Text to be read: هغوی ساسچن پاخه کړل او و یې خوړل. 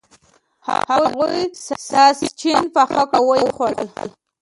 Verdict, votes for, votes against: rejected, 0, 2